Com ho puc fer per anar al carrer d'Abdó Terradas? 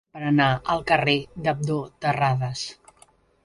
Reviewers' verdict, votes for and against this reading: rejected, 0, 3